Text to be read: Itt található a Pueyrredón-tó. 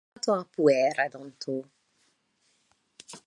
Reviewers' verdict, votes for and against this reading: rejected, 0, 2